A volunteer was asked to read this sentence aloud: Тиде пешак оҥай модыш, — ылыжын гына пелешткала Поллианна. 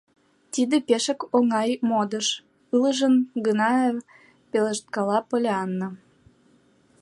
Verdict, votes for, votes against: rejected, 1, 2